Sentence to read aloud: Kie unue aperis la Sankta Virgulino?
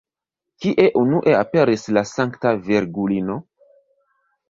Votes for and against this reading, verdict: 0, 2, rejected